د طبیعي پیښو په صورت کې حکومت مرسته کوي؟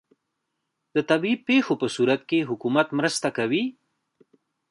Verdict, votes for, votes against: rejected, 1, 2